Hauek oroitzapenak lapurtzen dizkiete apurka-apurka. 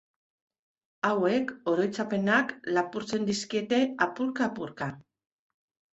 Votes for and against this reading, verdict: 3, 0, accepted